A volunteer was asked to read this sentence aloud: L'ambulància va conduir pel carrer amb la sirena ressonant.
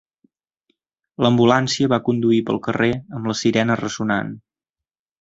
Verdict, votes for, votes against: accepted, 3, 0